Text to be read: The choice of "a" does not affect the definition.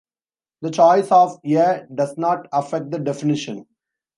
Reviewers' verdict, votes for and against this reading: rejected, 0, 2